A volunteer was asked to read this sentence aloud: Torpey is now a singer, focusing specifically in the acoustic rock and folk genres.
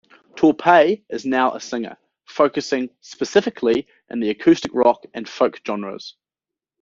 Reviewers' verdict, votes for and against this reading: rejected, 1, 2